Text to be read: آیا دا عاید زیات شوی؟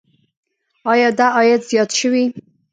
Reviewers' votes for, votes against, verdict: 1, 2, rejected